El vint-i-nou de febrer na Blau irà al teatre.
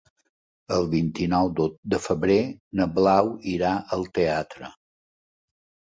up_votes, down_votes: 0, 2